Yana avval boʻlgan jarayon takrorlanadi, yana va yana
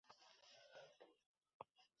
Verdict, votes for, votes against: rejected, 0, 2